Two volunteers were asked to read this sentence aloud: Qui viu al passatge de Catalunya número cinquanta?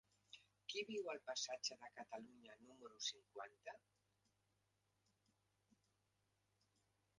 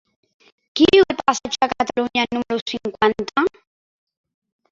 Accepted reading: second